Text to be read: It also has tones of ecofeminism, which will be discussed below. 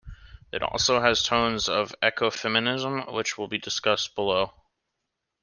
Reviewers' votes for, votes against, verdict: 2, 0, accepted